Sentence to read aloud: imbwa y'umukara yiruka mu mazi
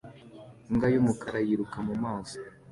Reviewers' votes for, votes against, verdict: 2, 0, accepted